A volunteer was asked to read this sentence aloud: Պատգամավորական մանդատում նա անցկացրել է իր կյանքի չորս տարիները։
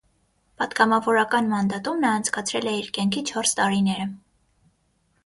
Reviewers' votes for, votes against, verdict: 6, 0, accepted